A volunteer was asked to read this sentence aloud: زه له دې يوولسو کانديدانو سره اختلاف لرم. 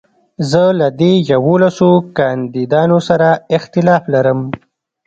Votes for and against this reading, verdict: 2, 1, accepted